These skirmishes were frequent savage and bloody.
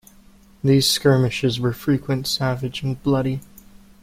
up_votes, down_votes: 2, 0